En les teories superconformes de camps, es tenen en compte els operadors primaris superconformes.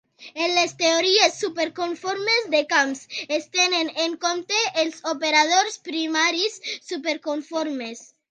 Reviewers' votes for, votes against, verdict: 2, 0, accepted